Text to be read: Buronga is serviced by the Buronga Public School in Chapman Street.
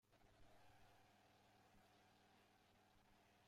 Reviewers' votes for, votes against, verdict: 0, 2, rejected